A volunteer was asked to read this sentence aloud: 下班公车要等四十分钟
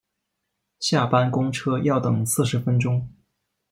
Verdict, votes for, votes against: accepted, 2, 0